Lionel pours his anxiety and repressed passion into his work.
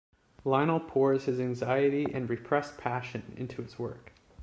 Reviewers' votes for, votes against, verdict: 2, 0, accepted